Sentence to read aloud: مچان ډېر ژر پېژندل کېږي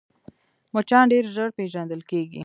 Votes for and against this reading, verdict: 1, 2, rejected